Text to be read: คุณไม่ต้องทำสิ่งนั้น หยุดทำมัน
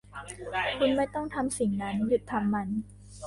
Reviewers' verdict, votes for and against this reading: rejected, 1, 2